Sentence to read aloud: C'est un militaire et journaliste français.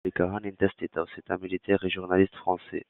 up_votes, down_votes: 1, 2